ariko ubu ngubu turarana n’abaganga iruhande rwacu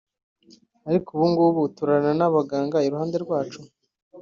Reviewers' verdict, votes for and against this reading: accepted, 2, 0